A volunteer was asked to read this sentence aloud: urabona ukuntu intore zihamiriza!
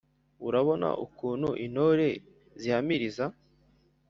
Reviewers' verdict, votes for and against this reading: rejected, 1, 2